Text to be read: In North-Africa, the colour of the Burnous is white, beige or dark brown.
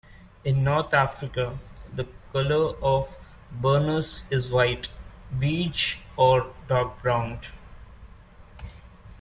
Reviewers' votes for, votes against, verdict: 0, 2, rejected